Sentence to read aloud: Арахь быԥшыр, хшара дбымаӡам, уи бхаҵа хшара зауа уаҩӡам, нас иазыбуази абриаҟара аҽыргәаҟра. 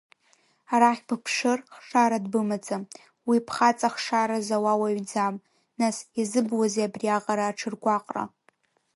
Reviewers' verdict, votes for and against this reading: accepted, 2, 0